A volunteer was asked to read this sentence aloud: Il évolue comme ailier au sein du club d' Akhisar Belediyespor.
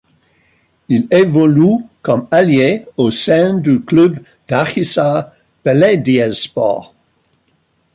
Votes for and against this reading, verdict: 1, 2, rejected